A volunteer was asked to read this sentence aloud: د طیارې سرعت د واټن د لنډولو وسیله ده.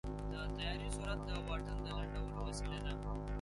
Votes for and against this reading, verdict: 0, 2, rejected